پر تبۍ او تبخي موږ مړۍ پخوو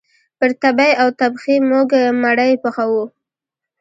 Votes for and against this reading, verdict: 2, 0, accepted